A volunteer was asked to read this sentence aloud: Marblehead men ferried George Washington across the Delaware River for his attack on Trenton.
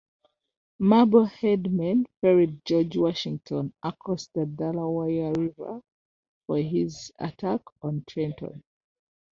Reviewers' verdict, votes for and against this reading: accepted, 2, 1